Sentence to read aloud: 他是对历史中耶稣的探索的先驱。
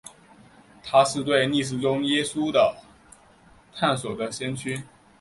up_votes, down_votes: 3, 1